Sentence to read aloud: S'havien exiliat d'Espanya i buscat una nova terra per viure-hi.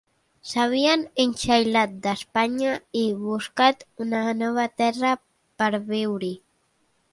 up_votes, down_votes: 0, 2